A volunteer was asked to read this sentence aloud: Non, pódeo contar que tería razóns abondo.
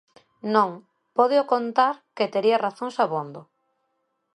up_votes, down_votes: 2, 0